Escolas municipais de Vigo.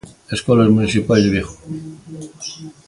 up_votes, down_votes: 3, 0